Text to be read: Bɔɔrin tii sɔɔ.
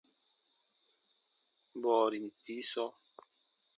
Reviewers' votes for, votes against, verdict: 2, 1, accepted